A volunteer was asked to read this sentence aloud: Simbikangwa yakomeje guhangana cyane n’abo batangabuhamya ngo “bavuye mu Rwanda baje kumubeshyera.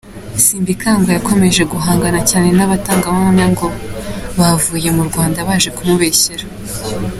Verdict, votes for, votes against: accepted, 2, 1